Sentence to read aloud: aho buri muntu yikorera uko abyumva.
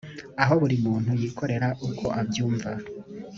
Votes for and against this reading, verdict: 2, 0, accepted